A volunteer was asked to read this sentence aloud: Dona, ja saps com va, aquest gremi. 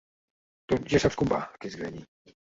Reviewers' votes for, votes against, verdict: 1, 2, rejected